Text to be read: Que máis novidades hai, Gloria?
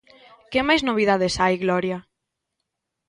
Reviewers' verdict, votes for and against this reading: accepted, 2, 0